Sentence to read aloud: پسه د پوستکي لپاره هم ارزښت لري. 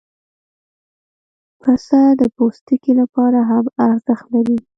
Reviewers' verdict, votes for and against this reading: rejected, 1, 2